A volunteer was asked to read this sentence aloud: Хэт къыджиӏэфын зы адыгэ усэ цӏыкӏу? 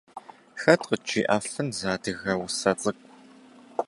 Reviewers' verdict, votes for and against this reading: accepted, 2, 0